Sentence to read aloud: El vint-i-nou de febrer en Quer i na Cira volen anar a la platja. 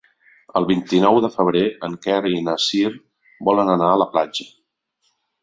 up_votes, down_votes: 0, 2